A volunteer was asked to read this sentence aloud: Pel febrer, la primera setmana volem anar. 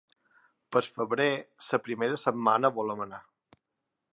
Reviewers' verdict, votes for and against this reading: rejected, 1, 2